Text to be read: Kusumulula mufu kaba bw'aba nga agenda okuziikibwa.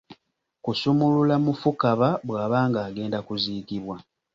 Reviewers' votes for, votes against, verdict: 0, 2, rejected